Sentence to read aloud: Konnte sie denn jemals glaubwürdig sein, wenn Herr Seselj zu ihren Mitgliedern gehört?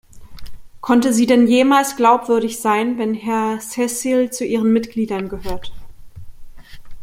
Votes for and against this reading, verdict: 2, 1, accepted